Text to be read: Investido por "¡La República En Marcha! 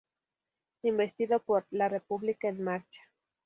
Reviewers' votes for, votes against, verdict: 2, 0, accepted